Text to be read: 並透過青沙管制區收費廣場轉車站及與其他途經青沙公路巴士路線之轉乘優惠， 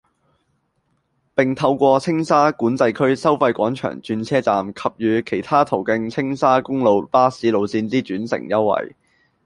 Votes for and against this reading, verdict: 1, 2, rejected